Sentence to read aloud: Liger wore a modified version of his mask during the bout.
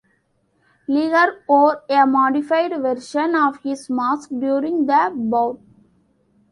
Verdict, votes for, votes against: rejected, 0, 2